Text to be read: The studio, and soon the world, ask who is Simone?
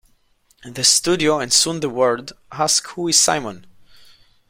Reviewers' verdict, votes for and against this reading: rejected, 1, 2